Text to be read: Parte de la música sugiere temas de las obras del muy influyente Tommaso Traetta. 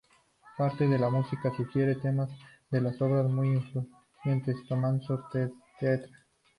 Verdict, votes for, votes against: accepted, 2, 0